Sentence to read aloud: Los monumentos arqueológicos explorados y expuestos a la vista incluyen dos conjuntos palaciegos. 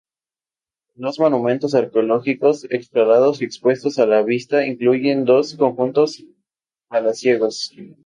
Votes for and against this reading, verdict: 0, 2, rejected